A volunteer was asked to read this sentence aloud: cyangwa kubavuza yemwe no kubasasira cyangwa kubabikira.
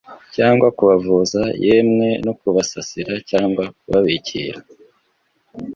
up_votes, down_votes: 2, 0